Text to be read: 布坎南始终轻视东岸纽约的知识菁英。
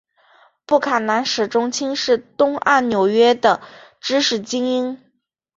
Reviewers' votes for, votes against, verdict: 2, 0, accepted